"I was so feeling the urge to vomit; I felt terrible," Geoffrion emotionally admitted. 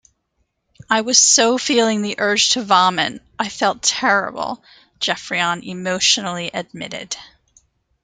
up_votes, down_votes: 2, 1